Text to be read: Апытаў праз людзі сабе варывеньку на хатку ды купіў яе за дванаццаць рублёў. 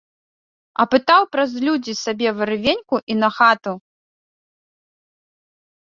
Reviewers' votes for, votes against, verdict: 0, 2, rejected